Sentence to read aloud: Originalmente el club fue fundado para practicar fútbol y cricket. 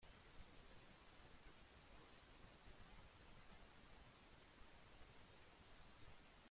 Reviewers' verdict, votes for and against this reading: rejected, 0, 2